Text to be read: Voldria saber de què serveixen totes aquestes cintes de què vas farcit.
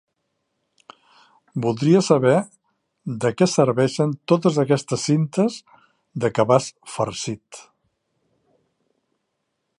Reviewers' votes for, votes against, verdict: 1, 2, rejected